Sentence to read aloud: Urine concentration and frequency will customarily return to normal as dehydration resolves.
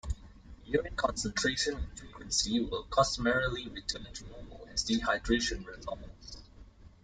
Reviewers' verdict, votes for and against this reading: rejected, 0, 2